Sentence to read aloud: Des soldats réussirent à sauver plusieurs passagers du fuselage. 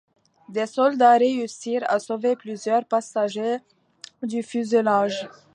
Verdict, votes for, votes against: accepted, 2, 0